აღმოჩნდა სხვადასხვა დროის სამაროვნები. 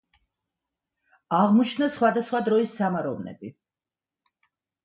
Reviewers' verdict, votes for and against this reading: accepted, 2, 0